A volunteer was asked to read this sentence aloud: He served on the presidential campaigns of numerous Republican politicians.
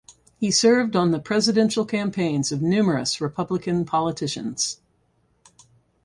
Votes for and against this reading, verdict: 4, 0, accepted